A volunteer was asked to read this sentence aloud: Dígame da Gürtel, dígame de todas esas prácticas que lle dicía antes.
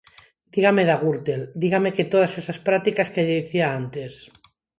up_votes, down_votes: 0, 4